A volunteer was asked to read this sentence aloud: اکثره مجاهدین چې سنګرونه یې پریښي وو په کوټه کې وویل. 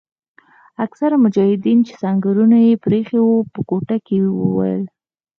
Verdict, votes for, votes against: accepted, 4, 0